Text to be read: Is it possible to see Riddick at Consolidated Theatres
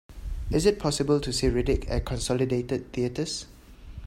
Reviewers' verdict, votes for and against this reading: accepted, 2, 0